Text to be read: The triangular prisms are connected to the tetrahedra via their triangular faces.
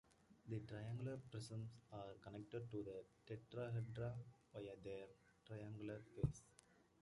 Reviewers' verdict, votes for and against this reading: rejected, 1, 2